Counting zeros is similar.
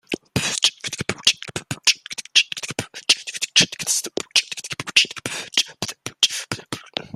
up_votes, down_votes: 0, 2